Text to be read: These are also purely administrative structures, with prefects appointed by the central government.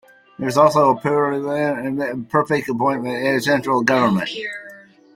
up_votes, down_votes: 0, 2